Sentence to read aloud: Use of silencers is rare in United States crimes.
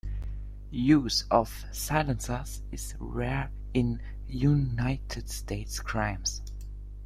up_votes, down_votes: 1, 2